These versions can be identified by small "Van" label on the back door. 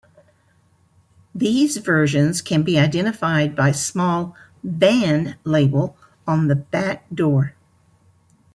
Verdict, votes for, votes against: accepted, 2, 0